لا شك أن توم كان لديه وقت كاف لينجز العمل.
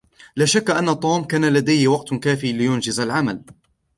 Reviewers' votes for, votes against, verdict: 2, 0, accepted